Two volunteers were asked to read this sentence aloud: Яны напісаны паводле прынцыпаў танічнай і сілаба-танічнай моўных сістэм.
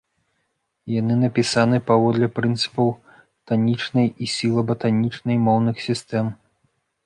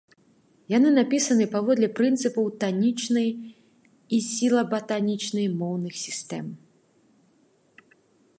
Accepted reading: second